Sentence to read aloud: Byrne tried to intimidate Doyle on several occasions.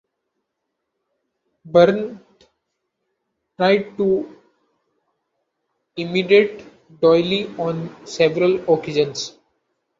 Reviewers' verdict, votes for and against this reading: rejected, 0, 3